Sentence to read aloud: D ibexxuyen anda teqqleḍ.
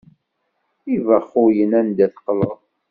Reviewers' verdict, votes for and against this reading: accepted, 2, 0